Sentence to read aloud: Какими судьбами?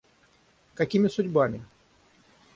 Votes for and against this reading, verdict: 3, 3, rejected